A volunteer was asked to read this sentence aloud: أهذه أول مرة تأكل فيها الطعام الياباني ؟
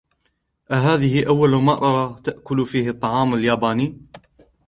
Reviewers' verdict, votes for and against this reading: rejected, 1, 2